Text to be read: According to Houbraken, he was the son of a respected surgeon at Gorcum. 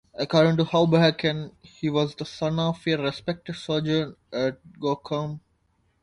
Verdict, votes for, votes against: rejected, 0, 2